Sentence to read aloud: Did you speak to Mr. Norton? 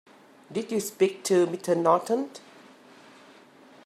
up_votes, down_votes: 2, 6